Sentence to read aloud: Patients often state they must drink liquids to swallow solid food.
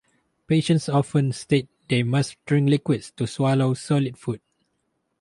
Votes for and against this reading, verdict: 2, 0, accepted